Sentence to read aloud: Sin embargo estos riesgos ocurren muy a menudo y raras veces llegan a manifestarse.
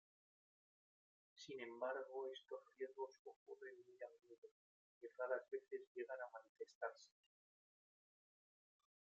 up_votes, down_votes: 1, 2